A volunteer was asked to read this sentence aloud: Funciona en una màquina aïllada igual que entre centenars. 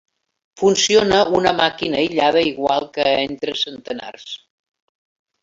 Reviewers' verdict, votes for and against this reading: rejected, 0, 2